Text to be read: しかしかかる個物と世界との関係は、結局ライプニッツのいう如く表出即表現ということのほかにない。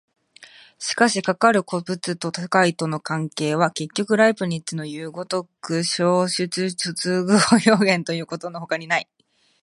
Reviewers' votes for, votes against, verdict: 0, 2, rejected